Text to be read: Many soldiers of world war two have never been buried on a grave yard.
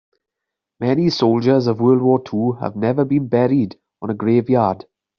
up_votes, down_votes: 2, 1